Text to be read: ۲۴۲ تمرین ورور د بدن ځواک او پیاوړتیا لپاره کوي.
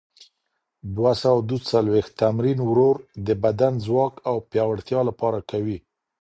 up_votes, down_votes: 0, 2